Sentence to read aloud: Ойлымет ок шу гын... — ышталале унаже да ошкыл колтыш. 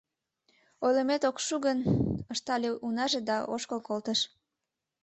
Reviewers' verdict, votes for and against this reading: rejected, 1, 2